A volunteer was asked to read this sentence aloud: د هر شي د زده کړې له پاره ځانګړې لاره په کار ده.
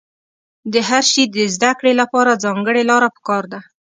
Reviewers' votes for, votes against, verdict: 2, 0, accepted